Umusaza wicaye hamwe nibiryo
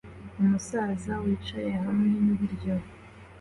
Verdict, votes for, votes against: accepted, 2, 0